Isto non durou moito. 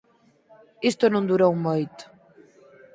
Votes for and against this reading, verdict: 4, 0, accepted